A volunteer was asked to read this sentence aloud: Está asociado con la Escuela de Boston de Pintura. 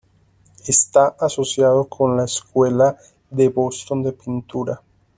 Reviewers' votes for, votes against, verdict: 2, 1, accepted